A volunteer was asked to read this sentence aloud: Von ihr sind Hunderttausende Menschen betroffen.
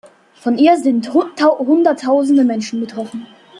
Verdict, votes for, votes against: rejected, 0, 2